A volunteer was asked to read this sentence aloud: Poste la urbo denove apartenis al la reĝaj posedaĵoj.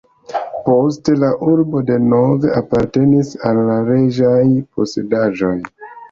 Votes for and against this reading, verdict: 1, 2, rejected